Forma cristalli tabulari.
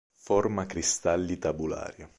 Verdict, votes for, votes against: accepted, 2, 0